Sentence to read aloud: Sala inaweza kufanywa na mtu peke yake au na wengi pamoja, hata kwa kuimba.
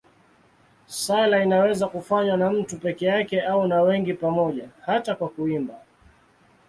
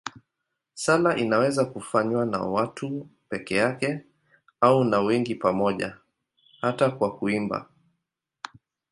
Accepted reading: first